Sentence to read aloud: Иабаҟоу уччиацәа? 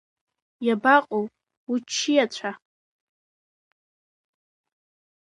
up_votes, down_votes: 2, 0